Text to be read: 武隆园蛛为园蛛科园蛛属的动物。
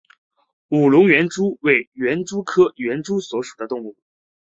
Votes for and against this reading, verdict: 2, 0, accepted